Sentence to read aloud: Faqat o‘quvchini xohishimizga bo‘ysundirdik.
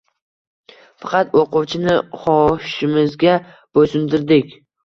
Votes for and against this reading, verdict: 2, 0, accepted